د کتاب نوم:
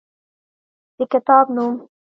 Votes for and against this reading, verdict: 2, 0, accepted